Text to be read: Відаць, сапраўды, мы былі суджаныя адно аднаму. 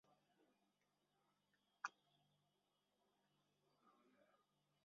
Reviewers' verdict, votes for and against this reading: rejected, 0, 2